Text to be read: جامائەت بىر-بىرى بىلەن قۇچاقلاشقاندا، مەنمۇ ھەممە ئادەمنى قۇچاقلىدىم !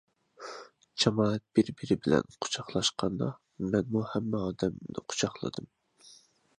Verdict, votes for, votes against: accepted, 2, 0